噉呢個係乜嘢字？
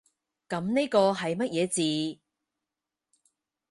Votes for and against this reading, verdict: 4, 0, accepted